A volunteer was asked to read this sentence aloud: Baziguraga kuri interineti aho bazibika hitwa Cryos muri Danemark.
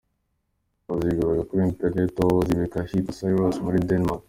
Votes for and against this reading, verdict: 0, 2, rejected